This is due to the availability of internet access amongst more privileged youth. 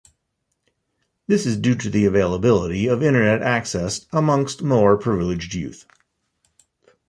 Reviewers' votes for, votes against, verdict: 2, 0, accepted